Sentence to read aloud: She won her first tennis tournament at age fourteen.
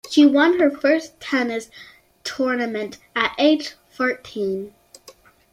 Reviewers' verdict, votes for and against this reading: accepted, 2, 0